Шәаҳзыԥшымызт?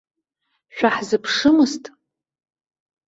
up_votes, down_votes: 2, 0